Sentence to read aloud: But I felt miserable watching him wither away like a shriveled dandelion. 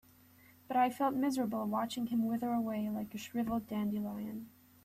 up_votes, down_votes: 3, 0